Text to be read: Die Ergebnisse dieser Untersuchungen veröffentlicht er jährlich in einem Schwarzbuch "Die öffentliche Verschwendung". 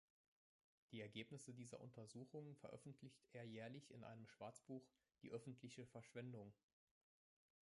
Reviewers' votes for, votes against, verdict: 1, 3, rejected